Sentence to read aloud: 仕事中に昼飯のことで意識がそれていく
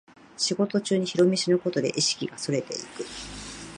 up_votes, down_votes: 2, 2